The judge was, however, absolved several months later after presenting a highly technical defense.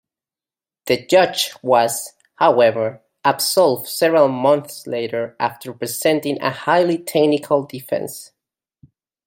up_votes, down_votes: 1, 2